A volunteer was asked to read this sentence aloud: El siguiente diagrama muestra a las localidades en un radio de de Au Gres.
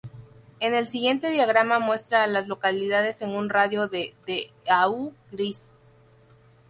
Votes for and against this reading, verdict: 2, 4, rejected